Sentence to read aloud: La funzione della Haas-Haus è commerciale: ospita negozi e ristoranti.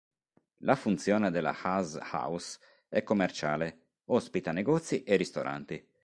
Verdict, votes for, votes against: accepted, 2, 0